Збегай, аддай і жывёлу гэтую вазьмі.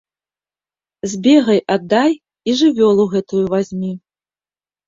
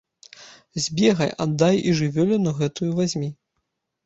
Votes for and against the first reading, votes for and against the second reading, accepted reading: 2, 0, 0, 2, first